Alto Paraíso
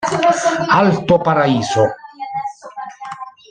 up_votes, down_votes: 1, 2